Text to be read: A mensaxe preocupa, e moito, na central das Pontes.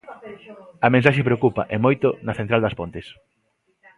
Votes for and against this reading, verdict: 2, 0, accepted